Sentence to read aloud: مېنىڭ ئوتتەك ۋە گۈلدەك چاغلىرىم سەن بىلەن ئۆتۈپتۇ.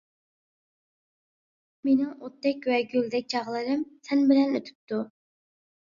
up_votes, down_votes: 2, 0